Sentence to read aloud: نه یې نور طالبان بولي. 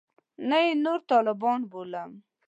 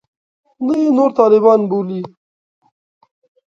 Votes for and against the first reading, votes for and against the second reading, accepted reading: 1, 2, 2, 0, second